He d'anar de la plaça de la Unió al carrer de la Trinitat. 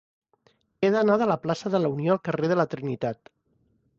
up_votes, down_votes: 4, 0